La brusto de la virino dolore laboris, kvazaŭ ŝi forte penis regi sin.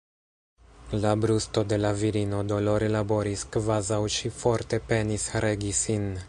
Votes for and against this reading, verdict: 0, 2, rejected